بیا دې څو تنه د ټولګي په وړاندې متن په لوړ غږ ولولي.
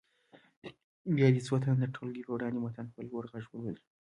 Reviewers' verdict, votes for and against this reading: accepted, 2, 0